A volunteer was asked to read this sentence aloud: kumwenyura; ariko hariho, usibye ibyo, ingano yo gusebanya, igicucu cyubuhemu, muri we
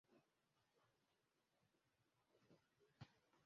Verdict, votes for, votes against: rejected, 0, 2